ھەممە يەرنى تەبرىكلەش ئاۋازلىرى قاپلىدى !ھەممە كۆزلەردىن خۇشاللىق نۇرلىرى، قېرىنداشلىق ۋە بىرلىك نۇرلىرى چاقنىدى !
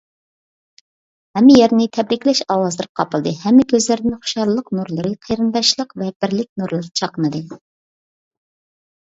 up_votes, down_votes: 2, 0